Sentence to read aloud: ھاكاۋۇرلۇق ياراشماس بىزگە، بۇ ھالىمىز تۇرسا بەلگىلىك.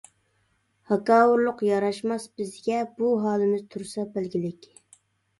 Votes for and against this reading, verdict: 2, 0, accepted